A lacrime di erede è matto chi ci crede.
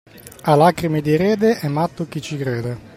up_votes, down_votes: 2, 0